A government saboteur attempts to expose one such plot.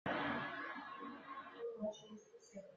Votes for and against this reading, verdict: 0, 2, rejected